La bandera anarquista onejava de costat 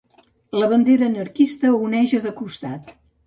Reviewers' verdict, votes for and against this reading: rejected, 1, 2